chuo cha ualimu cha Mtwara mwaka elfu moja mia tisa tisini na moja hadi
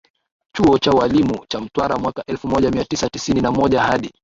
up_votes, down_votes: 2, 0